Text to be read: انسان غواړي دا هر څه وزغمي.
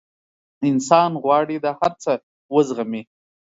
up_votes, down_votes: 3, 0